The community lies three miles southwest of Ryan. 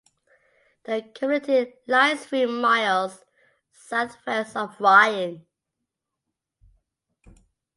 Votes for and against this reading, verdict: 2, 0, accepted